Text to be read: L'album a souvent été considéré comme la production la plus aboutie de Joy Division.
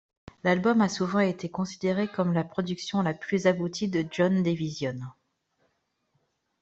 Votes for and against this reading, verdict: 1, 2, rejected